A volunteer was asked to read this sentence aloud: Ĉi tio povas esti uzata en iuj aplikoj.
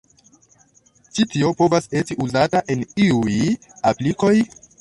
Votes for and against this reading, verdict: 0, 2, rejected